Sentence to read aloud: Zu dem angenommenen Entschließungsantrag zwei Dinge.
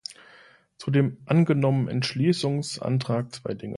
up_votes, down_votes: 1, 2